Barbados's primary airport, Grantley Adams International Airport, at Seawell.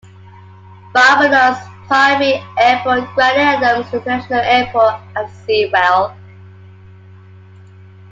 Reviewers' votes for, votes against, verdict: 2, 1, accepted